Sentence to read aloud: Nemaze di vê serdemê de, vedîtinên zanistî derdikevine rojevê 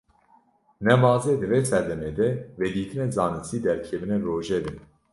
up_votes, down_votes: 2, 0